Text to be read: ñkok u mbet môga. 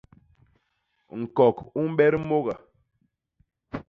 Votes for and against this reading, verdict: 0, 2, rejected